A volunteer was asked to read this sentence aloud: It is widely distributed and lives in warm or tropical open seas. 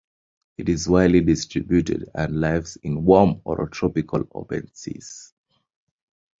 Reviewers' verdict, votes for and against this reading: rejected, 0, 2